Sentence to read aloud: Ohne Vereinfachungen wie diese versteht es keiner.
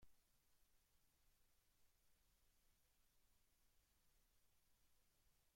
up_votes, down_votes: 0, 2